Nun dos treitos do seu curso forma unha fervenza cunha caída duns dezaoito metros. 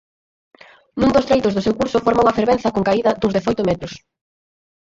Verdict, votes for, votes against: rejected, 0, 4